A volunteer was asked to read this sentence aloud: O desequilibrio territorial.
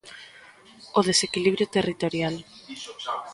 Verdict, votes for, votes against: accepted, 2, 1